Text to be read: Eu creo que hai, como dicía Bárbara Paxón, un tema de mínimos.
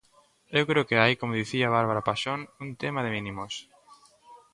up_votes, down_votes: 2, 0